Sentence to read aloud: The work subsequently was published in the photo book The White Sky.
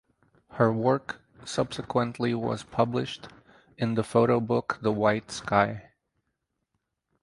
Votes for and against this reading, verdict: 0, 4, rejected